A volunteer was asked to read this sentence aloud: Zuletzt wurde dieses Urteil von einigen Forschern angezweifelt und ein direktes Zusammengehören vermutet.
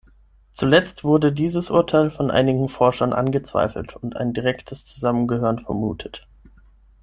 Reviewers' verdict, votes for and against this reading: accepted, 6, 0